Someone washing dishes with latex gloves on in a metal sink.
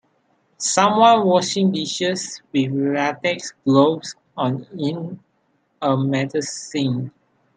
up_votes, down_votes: 2, 1